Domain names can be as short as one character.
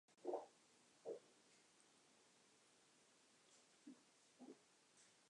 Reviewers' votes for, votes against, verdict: 0, 3, rejected